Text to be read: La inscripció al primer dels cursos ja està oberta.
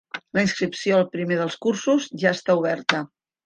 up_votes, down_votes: 3, 0